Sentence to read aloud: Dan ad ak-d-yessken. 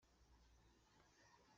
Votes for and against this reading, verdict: 0, 2, rejected